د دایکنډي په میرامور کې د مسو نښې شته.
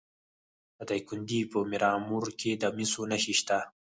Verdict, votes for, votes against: rejected, 2, 4